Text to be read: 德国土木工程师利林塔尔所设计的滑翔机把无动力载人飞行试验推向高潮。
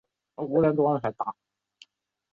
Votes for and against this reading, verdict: 0, 3, rejected